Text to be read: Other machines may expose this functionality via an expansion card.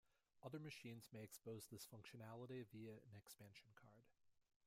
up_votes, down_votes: 2, 0